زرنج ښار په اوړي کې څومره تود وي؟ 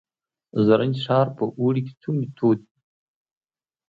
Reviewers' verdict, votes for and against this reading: accepted, 2, 0